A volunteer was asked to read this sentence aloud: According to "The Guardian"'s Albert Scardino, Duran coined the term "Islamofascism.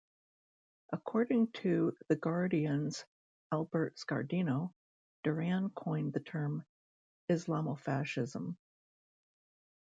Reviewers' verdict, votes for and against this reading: accepted, 2, 1